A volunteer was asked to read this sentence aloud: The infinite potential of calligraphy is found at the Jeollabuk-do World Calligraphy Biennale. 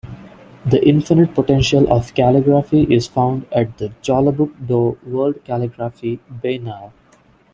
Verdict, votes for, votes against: rejected, 1, 2